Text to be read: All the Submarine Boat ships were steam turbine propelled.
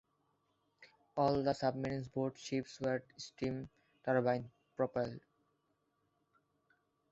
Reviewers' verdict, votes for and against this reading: accepted, 2, 1